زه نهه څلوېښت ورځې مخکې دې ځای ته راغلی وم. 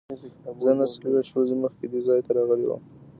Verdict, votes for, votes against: rejected, 1, 2